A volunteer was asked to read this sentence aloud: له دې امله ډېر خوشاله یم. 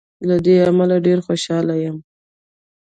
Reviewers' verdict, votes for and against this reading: accepted, 2, 0